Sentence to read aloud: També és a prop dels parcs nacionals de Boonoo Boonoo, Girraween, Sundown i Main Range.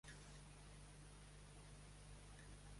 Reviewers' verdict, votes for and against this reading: rejected, 0, 2